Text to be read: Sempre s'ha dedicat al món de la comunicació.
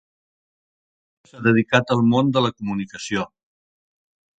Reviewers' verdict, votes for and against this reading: rejected, 0, 2